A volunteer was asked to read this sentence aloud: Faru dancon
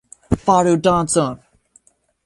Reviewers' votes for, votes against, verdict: 2, 0, accepted